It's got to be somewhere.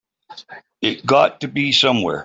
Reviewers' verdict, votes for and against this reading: rejected, 1, 2